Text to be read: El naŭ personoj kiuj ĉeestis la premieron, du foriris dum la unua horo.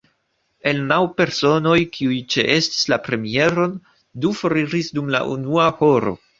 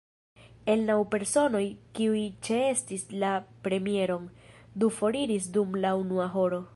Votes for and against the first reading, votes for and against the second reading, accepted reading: 2, 0, 0, 3, first